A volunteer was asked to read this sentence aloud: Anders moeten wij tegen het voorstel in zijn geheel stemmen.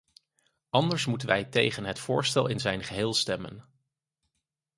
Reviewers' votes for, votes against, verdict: 4, 0, accepted